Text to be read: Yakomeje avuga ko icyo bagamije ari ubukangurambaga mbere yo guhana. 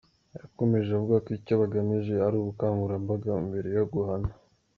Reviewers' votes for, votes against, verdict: 2, 0, accepted